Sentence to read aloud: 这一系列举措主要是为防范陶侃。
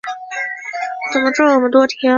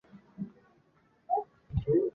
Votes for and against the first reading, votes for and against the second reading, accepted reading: 0, 3, 3, 1, second